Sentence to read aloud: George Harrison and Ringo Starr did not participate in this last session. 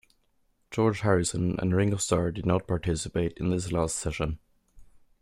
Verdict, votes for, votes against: accepted, 2, 1